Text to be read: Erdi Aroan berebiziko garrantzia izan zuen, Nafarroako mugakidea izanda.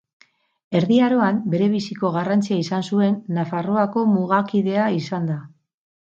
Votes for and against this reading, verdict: 2, 4, rejected